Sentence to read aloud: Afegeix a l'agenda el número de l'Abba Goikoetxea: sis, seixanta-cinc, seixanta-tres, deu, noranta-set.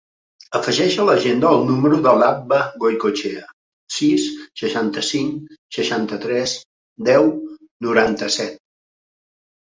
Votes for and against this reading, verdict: 3, 0, accepted